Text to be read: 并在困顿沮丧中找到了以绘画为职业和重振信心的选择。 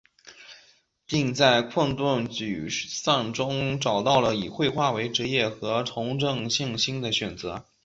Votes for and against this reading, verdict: 0, 2, rejected